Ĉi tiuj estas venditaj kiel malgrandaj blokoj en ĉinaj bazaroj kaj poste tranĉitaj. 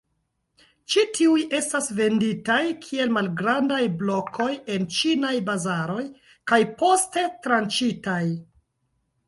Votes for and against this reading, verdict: 0, 2, rejected